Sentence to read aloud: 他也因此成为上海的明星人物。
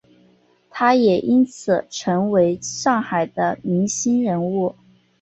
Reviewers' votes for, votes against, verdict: 4, 0, accepted